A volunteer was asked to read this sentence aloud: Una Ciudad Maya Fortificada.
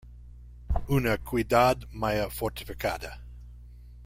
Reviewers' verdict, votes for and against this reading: rejected, 0, 2